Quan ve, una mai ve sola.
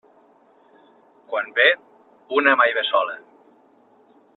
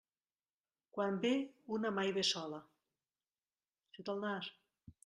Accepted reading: first